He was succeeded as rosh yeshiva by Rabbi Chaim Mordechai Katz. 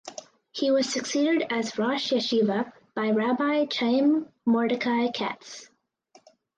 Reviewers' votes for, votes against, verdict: 4, 0, accepted